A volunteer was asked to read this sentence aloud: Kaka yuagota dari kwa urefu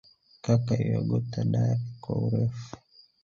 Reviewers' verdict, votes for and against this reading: accepted, 3, 1